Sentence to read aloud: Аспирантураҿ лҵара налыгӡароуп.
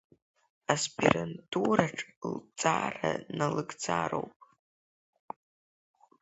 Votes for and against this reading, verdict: 1, 2, rejected